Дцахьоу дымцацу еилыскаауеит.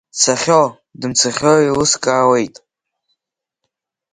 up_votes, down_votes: 0, 2